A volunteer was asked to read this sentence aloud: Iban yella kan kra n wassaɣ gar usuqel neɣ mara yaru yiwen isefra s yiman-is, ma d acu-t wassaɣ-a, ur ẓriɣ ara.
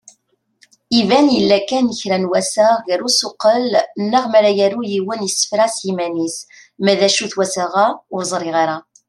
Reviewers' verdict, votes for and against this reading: accepted, 2, 0